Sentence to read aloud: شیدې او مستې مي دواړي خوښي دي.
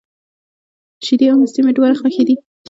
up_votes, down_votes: 2, 0